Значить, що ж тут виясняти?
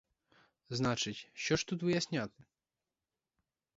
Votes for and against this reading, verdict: 2, 2, rejected